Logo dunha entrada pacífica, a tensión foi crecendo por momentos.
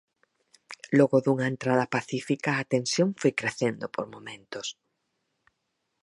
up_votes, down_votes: 4, 0